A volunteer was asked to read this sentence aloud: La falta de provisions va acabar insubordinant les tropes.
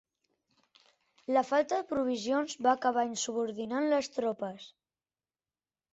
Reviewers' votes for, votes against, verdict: 4, 0, accepted